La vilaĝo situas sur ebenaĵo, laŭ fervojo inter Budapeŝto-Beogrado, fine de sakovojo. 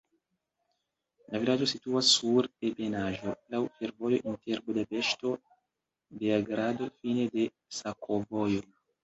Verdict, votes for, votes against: accepted, 3, 0